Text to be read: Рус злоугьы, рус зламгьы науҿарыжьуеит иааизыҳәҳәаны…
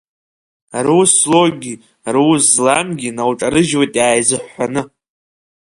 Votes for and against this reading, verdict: 0, 2, rejected